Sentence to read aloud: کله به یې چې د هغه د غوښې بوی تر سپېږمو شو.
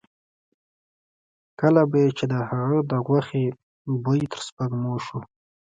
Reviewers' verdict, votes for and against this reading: accepted, 2, 0